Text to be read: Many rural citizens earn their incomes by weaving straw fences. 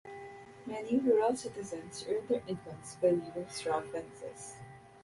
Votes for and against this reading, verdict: 2, 0, accepted